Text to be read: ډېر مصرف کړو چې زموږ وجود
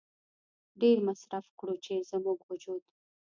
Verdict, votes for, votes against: rejected, 1, 2